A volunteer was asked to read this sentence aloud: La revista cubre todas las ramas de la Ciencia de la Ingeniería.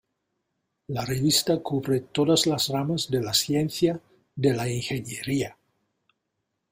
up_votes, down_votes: 1, 2